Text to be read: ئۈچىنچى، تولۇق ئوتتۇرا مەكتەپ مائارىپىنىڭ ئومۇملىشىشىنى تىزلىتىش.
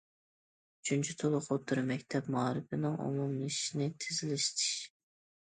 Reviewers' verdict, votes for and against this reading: rejected, 1, 2